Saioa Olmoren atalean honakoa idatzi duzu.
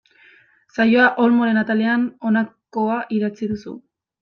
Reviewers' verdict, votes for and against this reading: rejected, 1, 2